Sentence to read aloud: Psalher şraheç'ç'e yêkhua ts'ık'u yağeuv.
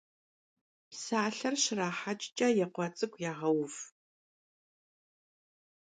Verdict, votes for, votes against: accepted, 2, 0